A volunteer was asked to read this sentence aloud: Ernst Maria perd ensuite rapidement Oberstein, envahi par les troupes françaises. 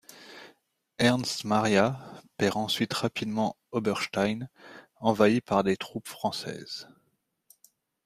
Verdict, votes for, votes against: rejected, 1, 2